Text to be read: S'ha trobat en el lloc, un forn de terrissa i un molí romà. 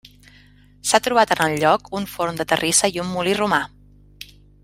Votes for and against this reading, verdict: 1, 2, rejected